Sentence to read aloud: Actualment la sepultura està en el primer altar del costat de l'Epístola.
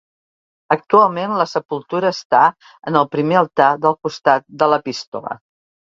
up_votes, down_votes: 2, 0